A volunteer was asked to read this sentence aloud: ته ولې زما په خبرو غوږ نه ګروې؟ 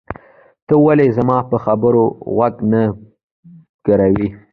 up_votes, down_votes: 2, 0